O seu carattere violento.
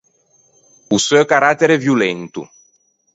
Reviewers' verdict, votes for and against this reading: accepted, 4, 0